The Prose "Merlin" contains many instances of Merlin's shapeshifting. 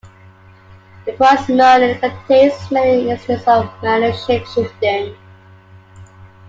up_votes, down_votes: 1, 2